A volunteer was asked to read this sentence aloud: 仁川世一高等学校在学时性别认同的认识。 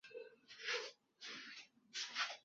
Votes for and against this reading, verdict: 0, 5, rejected